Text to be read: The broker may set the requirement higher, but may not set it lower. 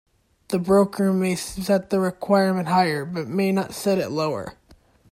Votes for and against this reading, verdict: 2, 0, accepted